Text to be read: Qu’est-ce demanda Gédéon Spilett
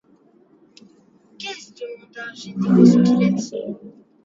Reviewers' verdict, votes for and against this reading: rejected, 1, 2